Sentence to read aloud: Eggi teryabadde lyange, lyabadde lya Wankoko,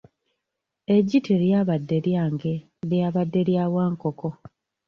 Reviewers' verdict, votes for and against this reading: accepted, 2, 1